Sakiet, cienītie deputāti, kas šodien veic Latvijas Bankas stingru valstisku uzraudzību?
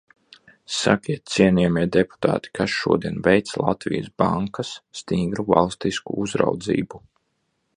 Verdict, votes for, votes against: rejected, 0, 2